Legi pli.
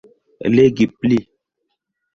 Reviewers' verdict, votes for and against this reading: accepted, 2, 0